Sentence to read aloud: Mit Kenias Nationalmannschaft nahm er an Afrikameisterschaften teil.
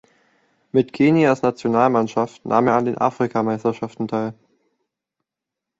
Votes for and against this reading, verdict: 0, 2, rejected